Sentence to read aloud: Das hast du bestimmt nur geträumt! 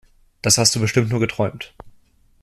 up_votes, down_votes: 2, 0